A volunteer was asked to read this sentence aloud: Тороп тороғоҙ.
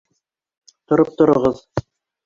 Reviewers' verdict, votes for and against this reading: rejected, 0, 2